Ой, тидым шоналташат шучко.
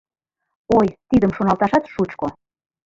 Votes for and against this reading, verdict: 2, 0, accepted